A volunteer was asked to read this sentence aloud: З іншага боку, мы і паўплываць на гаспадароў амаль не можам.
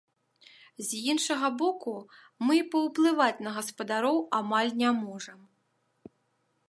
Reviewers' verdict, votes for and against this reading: accepted, 2, 1